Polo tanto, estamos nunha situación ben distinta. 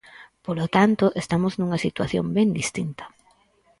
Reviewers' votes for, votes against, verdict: 4, 0, accepted